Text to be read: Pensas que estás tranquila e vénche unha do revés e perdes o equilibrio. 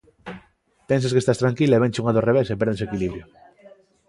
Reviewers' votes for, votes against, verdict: 2, 0, accepted